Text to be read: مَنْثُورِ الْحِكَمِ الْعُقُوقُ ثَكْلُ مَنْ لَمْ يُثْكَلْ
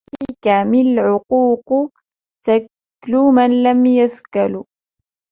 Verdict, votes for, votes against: rejected, 0, 2